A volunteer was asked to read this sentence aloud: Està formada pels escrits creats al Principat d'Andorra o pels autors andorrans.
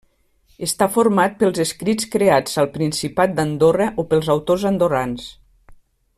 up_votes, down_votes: 0, 2